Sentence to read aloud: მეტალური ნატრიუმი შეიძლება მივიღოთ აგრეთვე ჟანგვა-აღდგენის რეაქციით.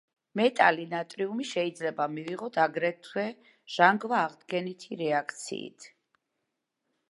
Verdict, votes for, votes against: rejected, 0, 2